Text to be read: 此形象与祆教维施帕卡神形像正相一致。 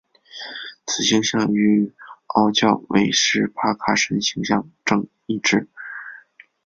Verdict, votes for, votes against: rejected, 1, 2